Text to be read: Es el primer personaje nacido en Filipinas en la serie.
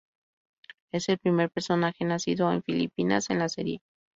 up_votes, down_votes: 2, 0